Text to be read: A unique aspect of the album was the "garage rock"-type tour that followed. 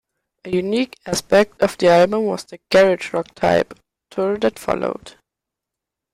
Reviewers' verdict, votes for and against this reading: rejected, 0, 2